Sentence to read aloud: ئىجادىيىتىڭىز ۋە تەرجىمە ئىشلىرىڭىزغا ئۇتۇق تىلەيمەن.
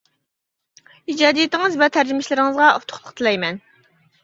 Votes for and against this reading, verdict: 0, 2, rejected